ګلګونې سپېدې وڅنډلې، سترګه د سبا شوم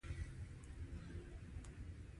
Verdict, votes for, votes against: rejected, 1, 2